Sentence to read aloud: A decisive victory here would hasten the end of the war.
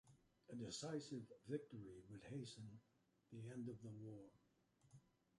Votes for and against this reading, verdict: 0, 2, rejected